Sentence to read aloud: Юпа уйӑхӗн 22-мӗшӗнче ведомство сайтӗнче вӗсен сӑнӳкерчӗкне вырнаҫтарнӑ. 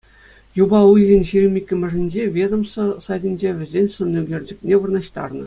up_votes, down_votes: 0, 2